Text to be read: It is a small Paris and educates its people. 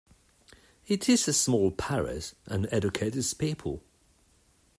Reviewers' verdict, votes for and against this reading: rejected, 0, 2